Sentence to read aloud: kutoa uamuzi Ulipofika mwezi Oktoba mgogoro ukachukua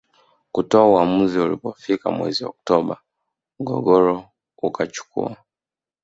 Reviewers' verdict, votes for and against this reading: rejected, 0, 2